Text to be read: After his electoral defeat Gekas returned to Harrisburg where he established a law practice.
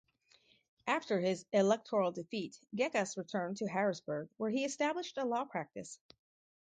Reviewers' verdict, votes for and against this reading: accepted, 4, 0